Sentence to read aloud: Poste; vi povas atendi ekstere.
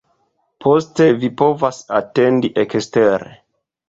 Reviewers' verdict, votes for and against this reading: rejected, 1, 2